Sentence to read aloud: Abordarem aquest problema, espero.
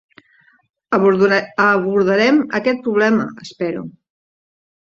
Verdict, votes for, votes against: rejected, 0, 2